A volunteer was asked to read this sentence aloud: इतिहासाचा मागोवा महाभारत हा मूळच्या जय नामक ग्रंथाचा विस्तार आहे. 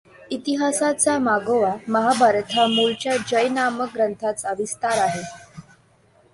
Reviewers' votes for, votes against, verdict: 2, 1, accepted